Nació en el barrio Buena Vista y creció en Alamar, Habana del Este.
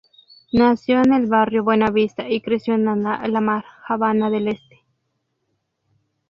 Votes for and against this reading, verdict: 0, 2, rejected